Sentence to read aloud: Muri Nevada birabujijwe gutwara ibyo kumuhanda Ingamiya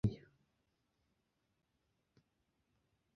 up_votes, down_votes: 0, 2